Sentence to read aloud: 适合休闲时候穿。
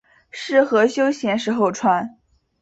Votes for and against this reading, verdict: 3, 0, accepted